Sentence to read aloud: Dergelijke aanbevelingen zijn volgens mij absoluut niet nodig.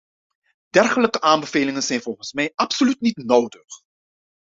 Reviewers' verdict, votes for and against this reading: accepted, 2, 0